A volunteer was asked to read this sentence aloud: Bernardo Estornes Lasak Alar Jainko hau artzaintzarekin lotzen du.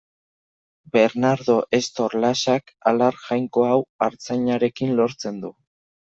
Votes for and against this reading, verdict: 1, 2, rejected